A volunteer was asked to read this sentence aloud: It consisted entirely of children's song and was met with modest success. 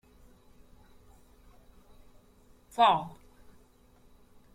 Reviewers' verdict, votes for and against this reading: rejected, 0, 2